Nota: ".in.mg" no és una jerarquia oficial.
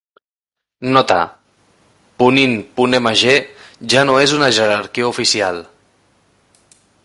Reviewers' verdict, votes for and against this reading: rejected, 0, 2